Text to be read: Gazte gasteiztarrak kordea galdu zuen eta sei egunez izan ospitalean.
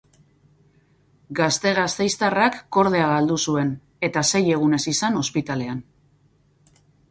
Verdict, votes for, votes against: accepted, 2, 0